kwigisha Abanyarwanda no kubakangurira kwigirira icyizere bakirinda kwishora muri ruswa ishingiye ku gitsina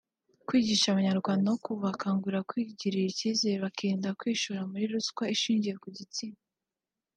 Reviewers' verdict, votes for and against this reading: accepted, 2, 1